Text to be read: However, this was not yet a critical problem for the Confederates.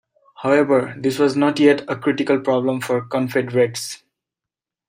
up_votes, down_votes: 0, 2